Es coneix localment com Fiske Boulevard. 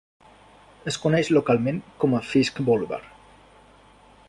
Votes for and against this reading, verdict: 1, 2, rejected